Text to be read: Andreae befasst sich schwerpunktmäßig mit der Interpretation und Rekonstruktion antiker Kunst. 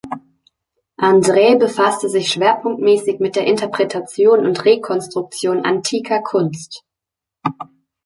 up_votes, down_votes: 0, 2